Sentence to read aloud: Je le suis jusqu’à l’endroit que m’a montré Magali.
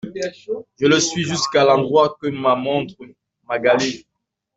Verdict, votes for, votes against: rejected, 0, 2